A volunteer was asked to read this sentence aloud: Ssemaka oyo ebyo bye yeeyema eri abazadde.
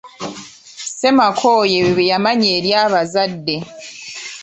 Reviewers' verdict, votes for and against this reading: rejected, 1, 2